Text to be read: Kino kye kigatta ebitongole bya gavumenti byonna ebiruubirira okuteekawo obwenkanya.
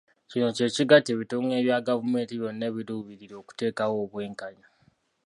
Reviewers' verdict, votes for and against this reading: accepted, 2, 0